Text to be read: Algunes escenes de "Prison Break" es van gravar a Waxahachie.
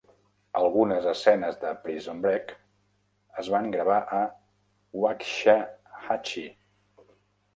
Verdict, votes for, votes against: rejected, 0, 2